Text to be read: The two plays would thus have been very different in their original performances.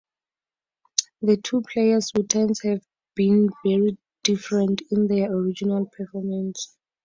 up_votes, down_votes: 0, 2